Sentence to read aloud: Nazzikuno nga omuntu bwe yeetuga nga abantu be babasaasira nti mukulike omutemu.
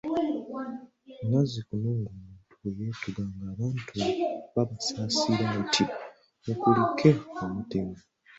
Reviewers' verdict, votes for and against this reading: rejected, 0, 2